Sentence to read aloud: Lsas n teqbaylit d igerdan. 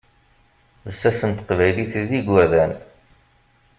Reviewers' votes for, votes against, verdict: 1, 2, rejected